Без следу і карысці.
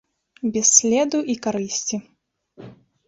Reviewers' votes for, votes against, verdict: 2, 1, accepted